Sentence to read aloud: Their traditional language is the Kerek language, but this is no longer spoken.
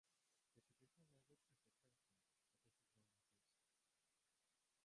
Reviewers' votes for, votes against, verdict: 0, 2, rejected